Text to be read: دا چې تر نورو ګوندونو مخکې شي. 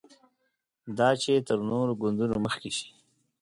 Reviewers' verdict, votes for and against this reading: accepted, 6, 0